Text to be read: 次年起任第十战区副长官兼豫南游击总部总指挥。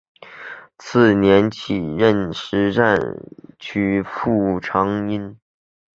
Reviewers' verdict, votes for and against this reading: rejected, 0, 2